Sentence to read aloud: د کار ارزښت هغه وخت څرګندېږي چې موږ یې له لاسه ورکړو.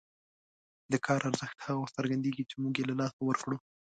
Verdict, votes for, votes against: rejected, 1, 2